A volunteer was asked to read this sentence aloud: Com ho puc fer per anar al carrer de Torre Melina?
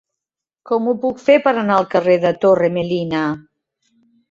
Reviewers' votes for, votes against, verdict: 4, 0, accepted